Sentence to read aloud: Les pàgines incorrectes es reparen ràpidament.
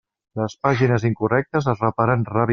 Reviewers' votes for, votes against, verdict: 0, 2, rejected